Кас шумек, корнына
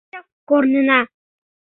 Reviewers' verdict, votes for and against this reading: rejected, 0, 2